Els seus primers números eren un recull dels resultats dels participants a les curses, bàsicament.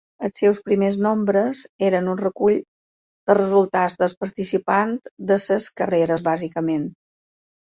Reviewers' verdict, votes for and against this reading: rejected, 0, 2